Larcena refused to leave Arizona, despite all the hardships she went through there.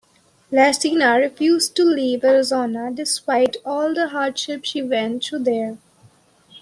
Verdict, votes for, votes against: accepted, 2, 0